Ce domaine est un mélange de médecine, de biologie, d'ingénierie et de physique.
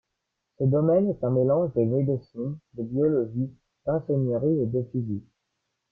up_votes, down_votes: 2, 1